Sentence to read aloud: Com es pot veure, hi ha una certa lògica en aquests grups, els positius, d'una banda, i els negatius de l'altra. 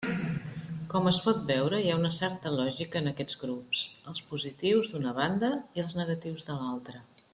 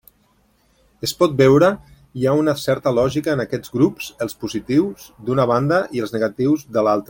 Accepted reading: first